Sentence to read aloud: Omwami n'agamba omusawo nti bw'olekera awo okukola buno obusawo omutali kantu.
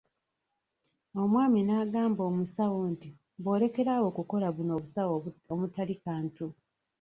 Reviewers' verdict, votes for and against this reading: rejected, 0, 2